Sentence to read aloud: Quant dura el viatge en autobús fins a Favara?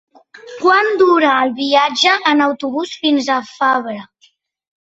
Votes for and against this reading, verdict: 1, 3, rejected